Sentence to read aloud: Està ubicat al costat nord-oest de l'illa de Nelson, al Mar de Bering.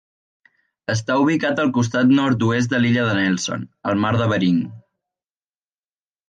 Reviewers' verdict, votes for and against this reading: accepted, 2, 0